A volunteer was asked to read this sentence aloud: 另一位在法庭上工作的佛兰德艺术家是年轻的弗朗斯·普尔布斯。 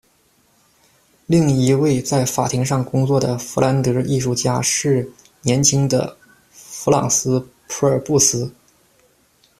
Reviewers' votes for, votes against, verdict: 2, 0, accepted